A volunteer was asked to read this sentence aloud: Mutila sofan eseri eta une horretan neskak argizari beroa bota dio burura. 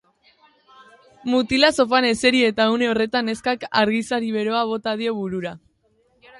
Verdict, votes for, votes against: rejected, 1, 2